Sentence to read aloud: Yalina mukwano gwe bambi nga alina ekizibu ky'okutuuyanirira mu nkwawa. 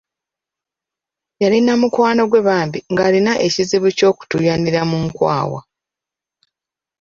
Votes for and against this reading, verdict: 1, 2, rejected